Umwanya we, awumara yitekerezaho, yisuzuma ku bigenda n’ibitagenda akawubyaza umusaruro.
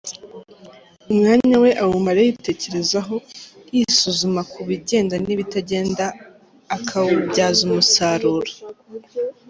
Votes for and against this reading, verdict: 2, 1, accepted